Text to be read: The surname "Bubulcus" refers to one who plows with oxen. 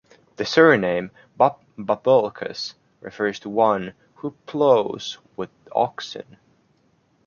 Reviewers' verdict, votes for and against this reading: rejected, 0, 2